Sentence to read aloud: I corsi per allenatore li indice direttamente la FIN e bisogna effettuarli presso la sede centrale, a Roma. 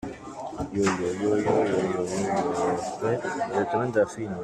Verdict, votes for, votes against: rejected, 0, 2